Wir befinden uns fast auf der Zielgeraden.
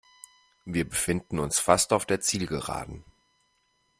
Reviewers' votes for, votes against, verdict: 2, 0, accepted